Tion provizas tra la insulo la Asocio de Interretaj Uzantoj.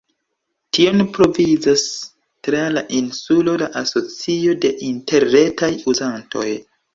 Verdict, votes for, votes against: accepted, 2, 0